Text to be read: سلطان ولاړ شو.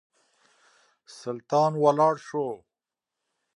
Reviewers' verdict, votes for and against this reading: accepted, 2, 0